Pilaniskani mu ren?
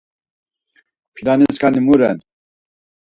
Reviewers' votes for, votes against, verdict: 4, 0, accepted